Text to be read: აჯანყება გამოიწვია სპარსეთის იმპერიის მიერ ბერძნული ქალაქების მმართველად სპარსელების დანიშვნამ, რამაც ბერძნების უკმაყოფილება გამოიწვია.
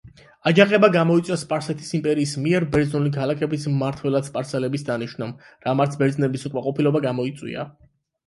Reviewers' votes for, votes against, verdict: 8, 4, accepted